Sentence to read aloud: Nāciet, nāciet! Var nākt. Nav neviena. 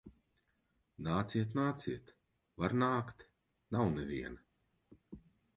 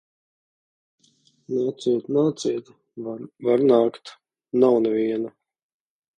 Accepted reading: first